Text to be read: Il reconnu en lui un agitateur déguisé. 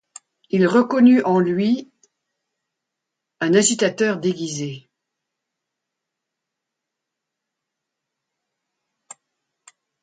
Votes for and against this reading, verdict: 2, 0, accepted